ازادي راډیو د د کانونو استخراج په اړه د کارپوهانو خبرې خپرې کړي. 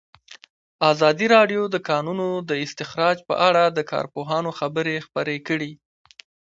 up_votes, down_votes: 1, 2